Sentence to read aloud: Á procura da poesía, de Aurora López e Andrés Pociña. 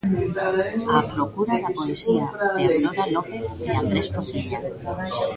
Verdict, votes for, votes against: rejected, 0, 2